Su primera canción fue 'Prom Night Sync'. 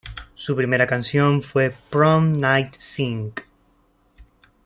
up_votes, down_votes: 2, 0